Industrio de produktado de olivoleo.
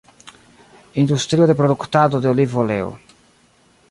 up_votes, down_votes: 2, 0